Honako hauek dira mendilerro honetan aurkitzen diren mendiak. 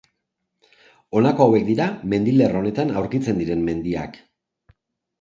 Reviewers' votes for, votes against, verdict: 1, 2, rejected